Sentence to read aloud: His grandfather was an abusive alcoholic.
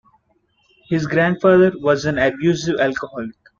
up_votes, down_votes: 2, 0